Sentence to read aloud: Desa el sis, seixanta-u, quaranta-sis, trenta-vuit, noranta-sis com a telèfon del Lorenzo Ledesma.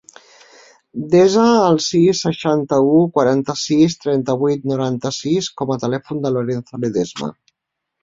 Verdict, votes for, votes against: accepted, 3, 0